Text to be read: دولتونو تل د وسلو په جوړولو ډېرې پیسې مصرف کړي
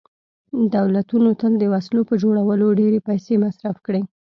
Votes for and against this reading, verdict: 2, 0, accepted